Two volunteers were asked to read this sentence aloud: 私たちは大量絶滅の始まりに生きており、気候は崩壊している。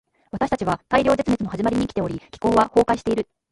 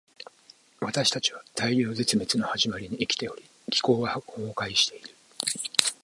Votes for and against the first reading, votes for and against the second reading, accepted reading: 0, 2, 2, 0, second